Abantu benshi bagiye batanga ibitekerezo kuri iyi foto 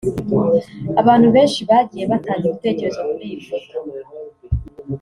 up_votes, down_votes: 3, 0